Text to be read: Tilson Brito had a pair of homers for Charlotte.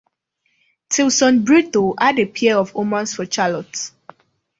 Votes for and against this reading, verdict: 0, 2, rejected